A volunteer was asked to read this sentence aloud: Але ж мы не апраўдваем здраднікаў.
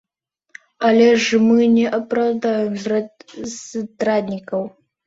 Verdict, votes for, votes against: rejected, 0, 3